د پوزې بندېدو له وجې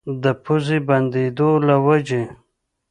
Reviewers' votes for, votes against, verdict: 2, 0, accepted